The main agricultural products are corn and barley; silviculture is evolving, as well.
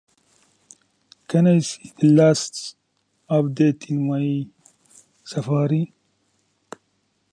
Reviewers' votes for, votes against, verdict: 0, 2, rejected